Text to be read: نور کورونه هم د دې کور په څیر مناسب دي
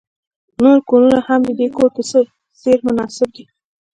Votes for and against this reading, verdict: 2, 0, accepted